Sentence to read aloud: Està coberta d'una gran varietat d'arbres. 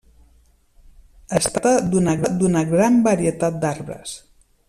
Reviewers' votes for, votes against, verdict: 0, 2, rejected